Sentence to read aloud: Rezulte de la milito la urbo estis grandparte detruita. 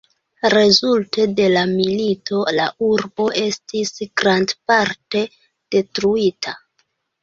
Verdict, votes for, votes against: accepted, 2, 0